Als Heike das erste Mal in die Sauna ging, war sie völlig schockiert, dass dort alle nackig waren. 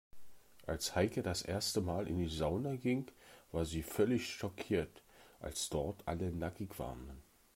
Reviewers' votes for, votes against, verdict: 1, 2, rejected